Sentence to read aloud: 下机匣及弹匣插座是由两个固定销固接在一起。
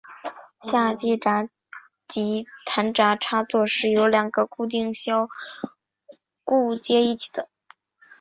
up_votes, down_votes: 5, 3